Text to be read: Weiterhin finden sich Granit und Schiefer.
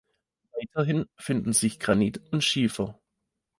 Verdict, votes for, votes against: rejected, 1, 2